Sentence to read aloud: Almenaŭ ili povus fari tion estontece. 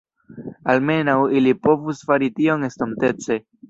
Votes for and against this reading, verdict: 1, 2, rejected